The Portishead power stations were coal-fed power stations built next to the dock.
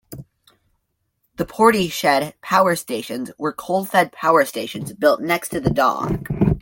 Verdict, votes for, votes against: rejected, 1, 2